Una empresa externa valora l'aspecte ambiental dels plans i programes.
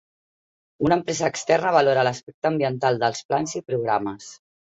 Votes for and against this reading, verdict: 0, 2, rejected